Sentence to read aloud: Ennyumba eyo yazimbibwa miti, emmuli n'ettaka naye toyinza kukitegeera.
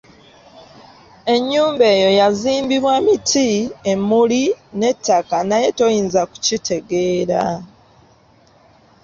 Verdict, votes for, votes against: accepted, 2, 0